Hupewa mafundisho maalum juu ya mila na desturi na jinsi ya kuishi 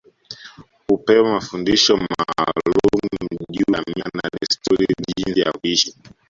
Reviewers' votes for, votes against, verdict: 0, 2, rejected